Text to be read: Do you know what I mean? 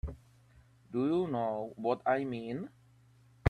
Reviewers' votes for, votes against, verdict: 3, 0, accepted